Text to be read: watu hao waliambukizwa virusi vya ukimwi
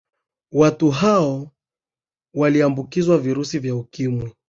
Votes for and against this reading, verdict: 2, 0, accepted